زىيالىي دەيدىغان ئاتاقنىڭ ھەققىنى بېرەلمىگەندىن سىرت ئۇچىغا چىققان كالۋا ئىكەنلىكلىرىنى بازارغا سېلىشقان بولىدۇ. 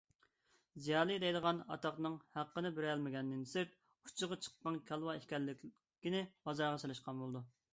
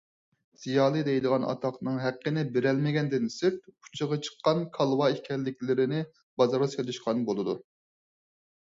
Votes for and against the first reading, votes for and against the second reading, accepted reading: 1, 2, 4, 0, second